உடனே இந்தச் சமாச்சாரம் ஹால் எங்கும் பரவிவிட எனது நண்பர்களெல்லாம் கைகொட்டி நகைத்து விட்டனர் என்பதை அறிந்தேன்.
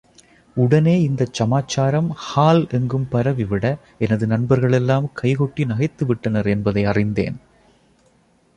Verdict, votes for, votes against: accepted, 2, 0